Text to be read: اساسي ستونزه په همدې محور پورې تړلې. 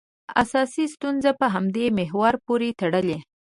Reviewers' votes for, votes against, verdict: 2, 0, accepted